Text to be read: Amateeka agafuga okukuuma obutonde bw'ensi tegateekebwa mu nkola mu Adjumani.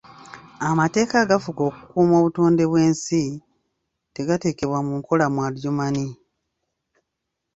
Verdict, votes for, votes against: rejected, 1, 2